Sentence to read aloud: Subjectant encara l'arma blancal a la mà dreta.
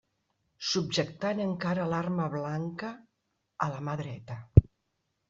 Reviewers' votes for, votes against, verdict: 1, 2, rejected